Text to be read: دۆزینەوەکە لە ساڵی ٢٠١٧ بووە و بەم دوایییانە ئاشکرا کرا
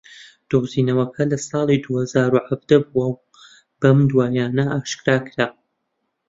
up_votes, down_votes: 0, 2